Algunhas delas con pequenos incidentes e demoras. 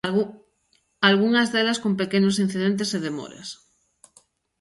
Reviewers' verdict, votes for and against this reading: rejected, 1, 2